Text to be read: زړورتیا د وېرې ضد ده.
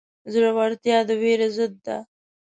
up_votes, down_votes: 2, 0